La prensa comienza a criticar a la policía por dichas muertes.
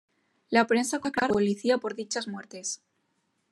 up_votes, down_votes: 1, 2